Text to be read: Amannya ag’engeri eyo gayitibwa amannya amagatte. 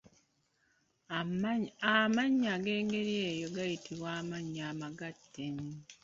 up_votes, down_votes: 0, 2